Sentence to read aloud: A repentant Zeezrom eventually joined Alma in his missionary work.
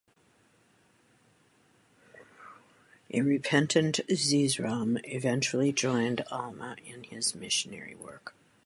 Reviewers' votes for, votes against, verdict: 2, 0, accepted